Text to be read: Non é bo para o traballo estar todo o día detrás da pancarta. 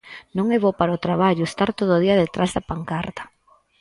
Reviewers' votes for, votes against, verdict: 4, 0, accepted